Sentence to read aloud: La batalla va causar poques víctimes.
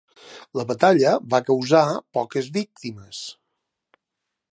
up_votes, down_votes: 3, 0